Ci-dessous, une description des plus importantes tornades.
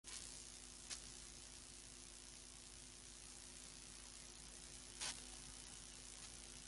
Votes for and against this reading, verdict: 0, 2, rejected